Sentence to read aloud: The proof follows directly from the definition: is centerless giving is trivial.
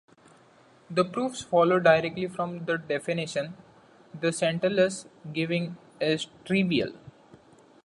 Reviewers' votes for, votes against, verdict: 0, 2, rejected